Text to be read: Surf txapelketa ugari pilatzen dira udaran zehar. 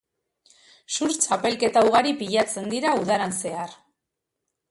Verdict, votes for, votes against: accepted, 3, 0